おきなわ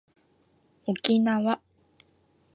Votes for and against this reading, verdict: 2, 0, accepted